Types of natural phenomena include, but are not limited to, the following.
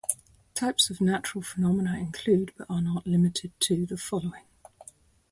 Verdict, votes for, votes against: accepted, 2, 0